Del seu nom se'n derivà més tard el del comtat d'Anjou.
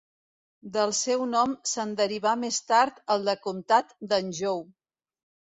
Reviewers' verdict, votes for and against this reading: rejected, 1, 2